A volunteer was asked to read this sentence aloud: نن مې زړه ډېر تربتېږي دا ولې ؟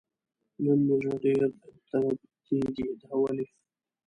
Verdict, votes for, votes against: rejected, 1, 2